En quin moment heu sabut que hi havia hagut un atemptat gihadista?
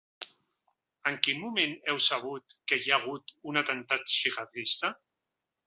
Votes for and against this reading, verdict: 0, 2, rejected